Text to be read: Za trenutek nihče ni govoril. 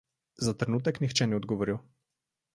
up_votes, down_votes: 0, 2